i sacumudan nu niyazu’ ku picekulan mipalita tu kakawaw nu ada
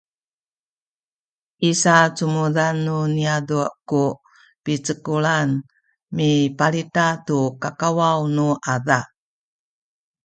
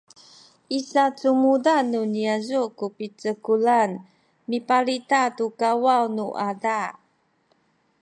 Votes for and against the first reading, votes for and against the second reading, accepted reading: 1, 2, 2, 0, second